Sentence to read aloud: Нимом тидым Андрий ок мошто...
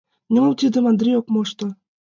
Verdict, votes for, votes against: accepted, 2, 0